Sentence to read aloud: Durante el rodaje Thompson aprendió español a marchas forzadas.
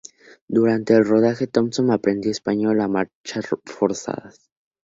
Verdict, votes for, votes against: accepted, 2, 0